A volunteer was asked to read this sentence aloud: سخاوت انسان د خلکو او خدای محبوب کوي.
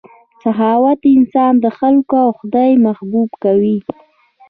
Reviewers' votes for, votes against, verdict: 2, 0, accepted